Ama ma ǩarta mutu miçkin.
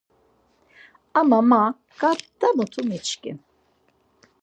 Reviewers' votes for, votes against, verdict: 4, 0, accepted